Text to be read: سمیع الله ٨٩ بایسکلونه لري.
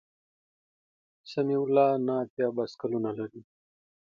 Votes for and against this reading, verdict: 0, 2, rejected